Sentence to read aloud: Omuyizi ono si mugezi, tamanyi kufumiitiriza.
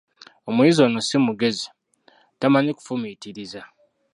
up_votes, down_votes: 0, 2